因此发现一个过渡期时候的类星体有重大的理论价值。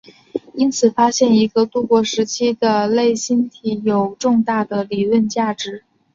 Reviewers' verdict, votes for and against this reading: accepted, 3, 1